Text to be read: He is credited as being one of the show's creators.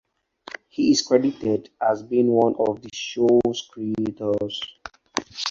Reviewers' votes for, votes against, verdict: 2, 2, rejected